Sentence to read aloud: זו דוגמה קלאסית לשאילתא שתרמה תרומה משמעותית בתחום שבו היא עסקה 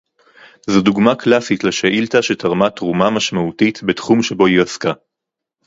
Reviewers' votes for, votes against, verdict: 2, 2, rejected